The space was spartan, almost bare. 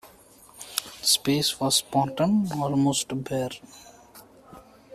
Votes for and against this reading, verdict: 0, 2, rejected